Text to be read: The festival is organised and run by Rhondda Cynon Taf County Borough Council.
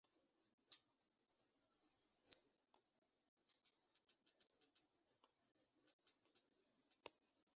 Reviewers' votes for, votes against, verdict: 0, 2, rejected